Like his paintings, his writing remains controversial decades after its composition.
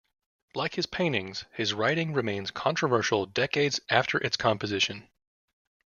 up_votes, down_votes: 2, 0